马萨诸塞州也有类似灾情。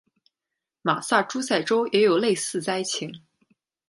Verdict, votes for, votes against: accepted, 2, 0